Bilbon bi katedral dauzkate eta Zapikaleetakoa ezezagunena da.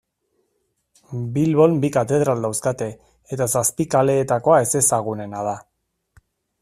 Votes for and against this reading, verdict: 2, 0, accepted